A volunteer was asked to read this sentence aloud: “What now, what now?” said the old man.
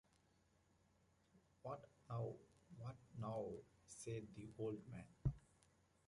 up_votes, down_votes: 2, 1